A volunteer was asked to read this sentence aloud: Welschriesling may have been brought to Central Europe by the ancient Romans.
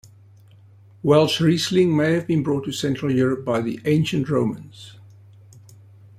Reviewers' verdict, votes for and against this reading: accepted, 3, 0